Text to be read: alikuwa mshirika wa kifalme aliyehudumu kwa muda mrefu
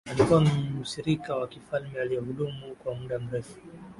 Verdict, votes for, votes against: accepted, 8, 2